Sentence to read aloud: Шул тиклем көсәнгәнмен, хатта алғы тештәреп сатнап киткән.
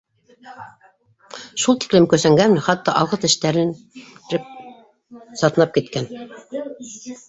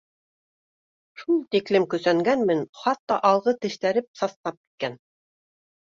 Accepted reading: second